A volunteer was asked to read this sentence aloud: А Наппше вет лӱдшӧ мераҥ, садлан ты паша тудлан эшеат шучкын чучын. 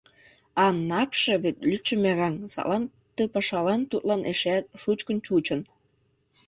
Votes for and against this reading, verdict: 1, 2, rejected